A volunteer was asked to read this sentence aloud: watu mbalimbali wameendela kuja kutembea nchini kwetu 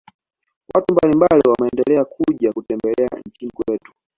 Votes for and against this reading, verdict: 2, 1, accepted